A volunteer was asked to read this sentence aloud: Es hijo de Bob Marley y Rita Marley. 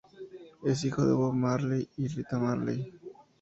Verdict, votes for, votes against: accepted, 2, 0